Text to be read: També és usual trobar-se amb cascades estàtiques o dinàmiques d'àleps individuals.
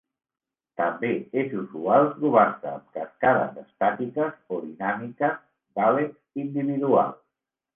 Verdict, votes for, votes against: accepted, 2, 0